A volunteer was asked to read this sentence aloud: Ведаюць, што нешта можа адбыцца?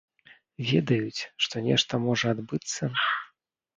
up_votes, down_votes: 2, 0